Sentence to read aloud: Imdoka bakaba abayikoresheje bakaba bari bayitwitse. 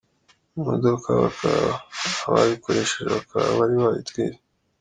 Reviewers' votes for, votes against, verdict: 1, 2, rejected